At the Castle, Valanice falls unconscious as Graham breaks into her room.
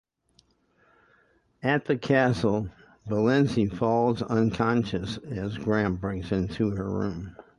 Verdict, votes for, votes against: rejected, 0, 10